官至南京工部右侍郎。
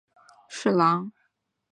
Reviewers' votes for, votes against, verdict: 0, 2, rejected